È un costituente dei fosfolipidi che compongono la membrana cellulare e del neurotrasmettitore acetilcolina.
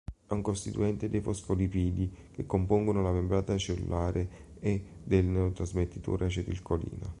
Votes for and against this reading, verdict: 1, 2, rejected